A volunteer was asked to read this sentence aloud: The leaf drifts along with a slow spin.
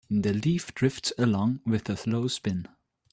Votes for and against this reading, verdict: 2, 0, accepted